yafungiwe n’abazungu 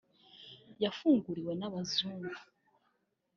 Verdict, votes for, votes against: rejected, 1, 2